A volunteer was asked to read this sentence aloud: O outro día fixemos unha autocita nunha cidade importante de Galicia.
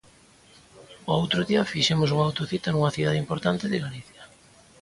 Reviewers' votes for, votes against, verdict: 2, 0, accepted